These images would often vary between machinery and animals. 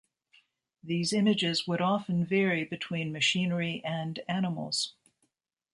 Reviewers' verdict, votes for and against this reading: accepted, 2, 0